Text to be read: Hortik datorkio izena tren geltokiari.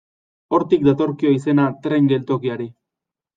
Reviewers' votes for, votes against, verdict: 2, 0, accepted